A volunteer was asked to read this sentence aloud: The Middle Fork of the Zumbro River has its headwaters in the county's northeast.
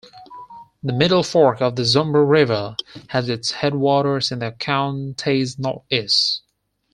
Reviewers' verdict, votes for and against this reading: accepted, 4, 2